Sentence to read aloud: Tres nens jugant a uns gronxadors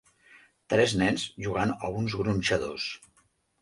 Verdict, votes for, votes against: accepted, 3, 0